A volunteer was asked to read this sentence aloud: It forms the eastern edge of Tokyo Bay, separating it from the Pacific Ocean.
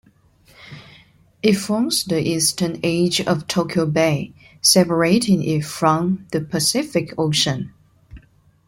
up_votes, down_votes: 2, 0